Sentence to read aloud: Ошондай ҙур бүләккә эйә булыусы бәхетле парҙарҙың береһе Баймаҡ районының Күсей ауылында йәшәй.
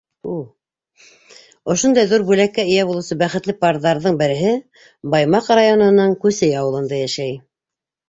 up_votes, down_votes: 2, 0